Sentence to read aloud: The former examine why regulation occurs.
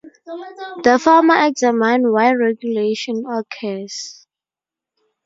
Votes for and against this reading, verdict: 8, 6, accepted